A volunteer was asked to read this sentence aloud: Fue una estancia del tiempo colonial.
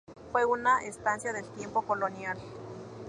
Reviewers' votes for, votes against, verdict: 2, 0, accepted